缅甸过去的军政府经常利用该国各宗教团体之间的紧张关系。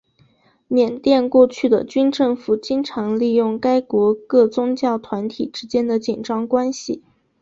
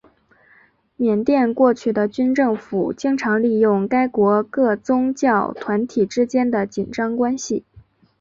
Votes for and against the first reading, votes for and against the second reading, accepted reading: 3, 0, 1, 2, first